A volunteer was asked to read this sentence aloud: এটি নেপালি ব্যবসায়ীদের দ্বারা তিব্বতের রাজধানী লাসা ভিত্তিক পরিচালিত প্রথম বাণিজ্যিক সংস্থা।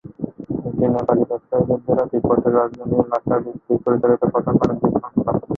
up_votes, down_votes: 0, 2